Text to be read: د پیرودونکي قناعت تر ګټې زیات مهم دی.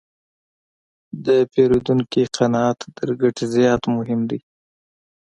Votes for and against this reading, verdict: 2, 0, accepted